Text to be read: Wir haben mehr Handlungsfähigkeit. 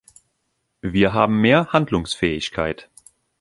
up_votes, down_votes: 2, 0